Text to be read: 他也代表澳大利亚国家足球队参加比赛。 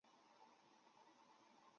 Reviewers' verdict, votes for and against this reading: rejected, 0, 3